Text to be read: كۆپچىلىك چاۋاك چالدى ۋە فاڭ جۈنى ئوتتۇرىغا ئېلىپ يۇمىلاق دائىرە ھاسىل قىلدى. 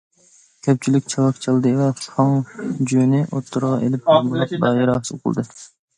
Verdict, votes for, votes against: rejected, 1, 2